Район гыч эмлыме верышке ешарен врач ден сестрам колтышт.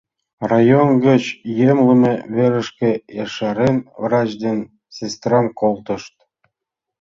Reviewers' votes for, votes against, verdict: 1, 2, rejected